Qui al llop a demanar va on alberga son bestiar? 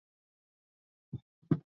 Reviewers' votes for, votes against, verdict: 2, 4, rejected